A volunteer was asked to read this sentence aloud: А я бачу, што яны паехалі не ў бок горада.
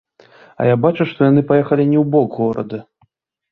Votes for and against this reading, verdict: 2, 0, accepted